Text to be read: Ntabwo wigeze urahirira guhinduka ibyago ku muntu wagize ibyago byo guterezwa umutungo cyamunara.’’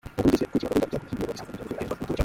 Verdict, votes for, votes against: rejected, 0, 2